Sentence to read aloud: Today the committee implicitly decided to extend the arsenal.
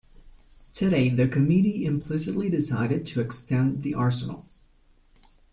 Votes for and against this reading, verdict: 2, 0, accepted